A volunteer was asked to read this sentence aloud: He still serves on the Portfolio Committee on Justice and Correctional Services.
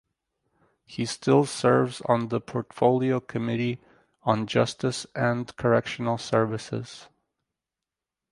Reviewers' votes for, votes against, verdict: 2, 0, accepted